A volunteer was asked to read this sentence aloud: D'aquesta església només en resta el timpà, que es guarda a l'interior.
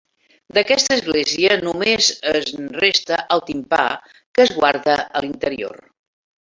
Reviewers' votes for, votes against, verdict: 1, 2, rejected